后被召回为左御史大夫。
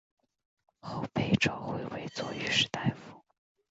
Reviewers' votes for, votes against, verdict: 3, 0, accepted